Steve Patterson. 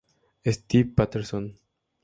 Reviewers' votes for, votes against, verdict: 2, 2, rejected